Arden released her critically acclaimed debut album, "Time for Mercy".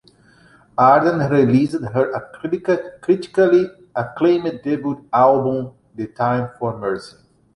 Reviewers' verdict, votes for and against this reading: rejected, 0, 2